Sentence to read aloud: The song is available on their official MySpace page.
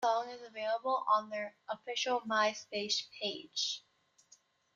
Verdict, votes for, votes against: rejected, 0, 2